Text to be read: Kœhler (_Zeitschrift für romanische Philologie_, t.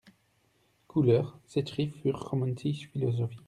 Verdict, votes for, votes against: rejected, 1, 2